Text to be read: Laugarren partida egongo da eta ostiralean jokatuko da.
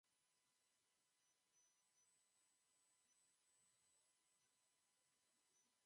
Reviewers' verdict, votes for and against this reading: rejected, 0, 2